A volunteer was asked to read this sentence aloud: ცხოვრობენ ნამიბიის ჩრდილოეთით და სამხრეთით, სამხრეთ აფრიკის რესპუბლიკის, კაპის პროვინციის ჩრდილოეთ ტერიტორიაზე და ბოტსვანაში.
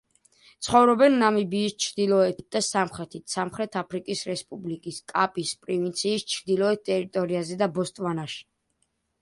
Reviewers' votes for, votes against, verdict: 1, 2, rejected